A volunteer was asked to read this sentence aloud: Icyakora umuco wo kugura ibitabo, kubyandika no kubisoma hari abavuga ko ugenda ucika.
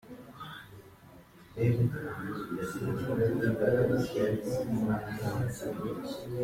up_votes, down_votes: 0, 2